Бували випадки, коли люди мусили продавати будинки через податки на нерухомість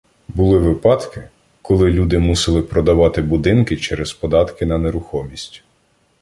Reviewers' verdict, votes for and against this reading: rejected, 0, 2